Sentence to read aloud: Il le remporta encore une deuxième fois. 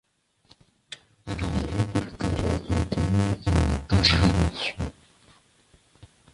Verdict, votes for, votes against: rejected, 0, 2